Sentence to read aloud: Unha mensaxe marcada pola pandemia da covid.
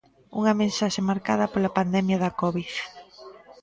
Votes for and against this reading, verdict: 2, 0, accepted